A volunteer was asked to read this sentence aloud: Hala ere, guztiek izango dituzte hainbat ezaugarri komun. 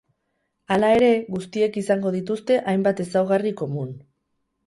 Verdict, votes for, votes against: rejected, 2, 2